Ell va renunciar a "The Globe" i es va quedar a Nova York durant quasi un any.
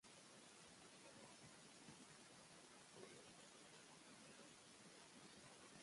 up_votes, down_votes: 0, 2